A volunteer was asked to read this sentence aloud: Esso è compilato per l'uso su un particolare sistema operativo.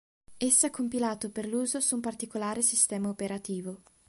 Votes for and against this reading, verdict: 3, 0, accepted